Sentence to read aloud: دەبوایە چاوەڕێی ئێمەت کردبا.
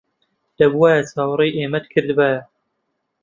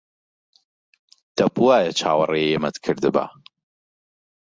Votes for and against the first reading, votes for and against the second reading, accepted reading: 0, 2, 2, 0, second